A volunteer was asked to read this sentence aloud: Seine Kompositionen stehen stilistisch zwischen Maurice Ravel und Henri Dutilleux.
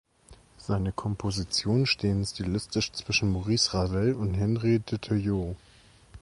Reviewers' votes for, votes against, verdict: 2, 0, accepted